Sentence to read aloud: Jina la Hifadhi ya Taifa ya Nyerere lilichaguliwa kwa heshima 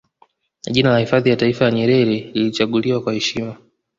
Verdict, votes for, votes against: accepted, 2, 0